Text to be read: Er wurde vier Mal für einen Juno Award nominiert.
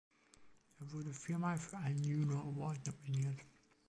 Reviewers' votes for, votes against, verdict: 2, 1, accepted